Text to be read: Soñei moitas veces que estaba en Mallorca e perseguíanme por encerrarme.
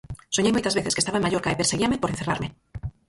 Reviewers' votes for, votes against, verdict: 0, 4, rejected